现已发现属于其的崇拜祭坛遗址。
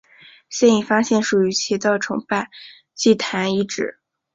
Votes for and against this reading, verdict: 2, 0, accepted